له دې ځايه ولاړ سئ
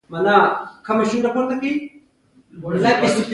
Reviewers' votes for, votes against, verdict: 0, 2, rejected